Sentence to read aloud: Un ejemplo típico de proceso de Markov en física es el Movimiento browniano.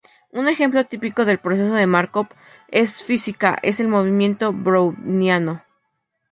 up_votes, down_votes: 2, 2